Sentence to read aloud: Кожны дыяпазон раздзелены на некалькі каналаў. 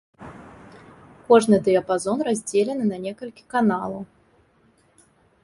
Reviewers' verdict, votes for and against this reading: accepted, 2, 0